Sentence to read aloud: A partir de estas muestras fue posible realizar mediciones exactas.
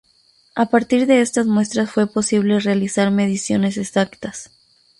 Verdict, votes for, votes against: accepted, 2, 0